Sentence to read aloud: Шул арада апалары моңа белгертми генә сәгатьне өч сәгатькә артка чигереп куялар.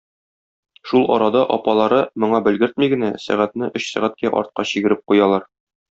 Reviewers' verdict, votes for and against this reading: accepted, 2, 0